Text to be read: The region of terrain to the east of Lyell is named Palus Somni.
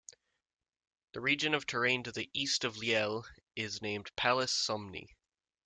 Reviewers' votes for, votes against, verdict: 2, 0, accepted